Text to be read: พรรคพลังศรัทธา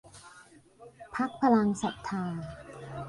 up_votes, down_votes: 2, 0